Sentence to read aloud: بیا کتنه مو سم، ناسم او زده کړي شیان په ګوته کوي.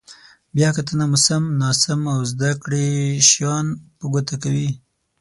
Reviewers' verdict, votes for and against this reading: accepted, 9, 0